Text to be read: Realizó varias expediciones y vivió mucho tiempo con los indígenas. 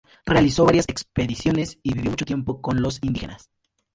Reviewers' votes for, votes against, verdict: 0, 2, rejected